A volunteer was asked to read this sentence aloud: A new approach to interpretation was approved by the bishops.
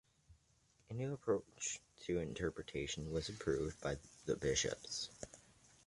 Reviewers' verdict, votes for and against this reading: accepted, 2, 0